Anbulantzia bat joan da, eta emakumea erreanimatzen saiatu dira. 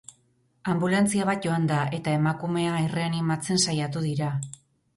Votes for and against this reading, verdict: 0, 2, rejected